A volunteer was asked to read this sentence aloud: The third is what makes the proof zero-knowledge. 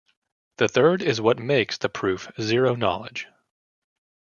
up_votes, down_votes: 2, 0